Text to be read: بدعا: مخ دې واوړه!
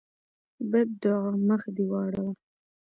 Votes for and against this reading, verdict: 2, 0, accepted